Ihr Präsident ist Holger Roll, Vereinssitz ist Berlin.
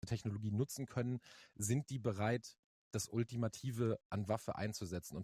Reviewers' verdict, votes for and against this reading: rejected, 0, 2